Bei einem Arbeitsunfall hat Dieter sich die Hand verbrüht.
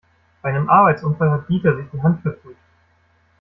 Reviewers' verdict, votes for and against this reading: accepted, 2, 0